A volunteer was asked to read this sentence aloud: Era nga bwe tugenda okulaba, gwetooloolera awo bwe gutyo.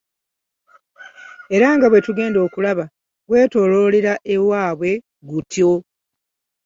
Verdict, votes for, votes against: rejected, 1, 2